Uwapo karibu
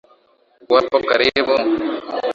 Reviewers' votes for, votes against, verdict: 7, 4, accepted